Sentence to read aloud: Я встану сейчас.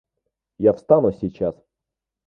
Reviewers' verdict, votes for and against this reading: accepted, 2, 0